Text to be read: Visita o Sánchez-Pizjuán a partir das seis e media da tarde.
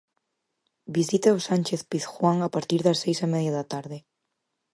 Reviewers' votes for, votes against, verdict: 4, 0, accepted